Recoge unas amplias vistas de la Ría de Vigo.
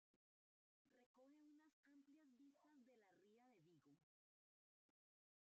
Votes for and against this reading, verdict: 0, 2, rejected